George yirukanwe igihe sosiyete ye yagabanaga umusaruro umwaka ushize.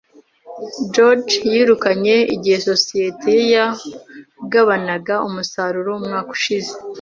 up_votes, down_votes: 0, 2